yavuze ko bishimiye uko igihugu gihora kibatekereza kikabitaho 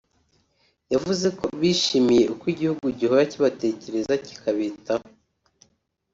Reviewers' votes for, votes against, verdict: 2, 0, accepted